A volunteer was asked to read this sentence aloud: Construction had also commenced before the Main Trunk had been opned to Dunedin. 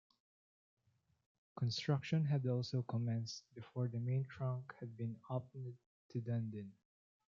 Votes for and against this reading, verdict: 1, 2, rejected